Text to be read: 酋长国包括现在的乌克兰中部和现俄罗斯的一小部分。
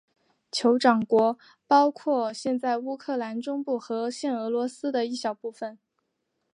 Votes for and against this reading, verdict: 1, 2, rejected